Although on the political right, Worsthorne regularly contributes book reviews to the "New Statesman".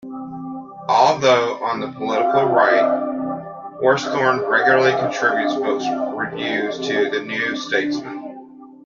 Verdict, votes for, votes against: rejected, 2, 3